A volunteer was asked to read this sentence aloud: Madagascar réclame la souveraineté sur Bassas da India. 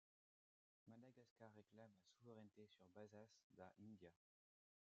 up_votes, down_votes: 0, 2